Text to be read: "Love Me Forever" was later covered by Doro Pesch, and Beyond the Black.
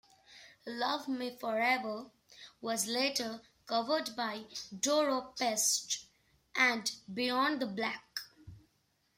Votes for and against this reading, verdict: 1, 2, rejected